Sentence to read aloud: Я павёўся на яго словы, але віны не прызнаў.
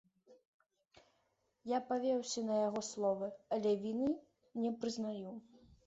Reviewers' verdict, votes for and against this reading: rejected, 1, 2